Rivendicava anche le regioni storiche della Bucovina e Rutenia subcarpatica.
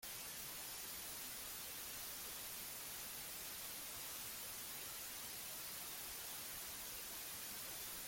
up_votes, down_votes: 0, 3